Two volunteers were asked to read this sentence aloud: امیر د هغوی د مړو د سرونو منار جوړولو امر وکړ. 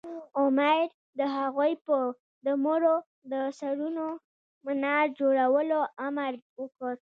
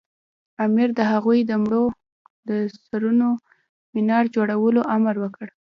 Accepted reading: first